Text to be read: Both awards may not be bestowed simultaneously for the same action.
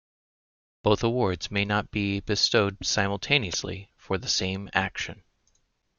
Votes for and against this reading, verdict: 2, 0, accepted